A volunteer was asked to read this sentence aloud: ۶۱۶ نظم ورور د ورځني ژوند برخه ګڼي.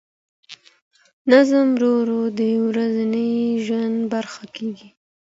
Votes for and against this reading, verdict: 0, 2, rejected